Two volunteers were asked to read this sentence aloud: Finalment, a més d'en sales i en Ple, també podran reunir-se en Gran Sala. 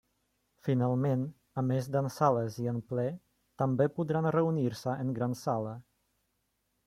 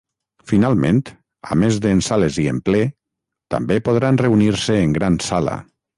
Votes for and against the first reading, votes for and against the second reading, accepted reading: 2, 0, 3, 3, first